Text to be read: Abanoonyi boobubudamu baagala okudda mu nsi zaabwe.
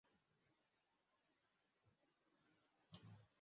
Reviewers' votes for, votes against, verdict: 0, 2, rejected